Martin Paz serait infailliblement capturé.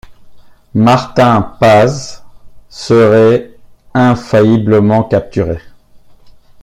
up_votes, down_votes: 2, 0